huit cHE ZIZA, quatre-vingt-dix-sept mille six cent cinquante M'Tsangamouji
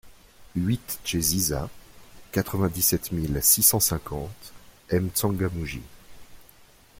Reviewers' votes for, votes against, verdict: 2, 0, accepted